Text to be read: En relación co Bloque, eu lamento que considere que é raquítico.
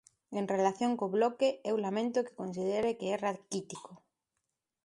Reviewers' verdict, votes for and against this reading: accepted, 2, 1